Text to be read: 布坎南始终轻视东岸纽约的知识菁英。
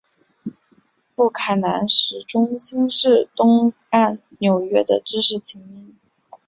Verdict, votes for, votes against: accepted, 6, 2